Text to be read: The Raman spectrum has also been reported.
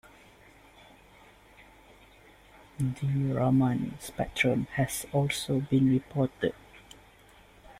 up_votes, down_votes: 2, 0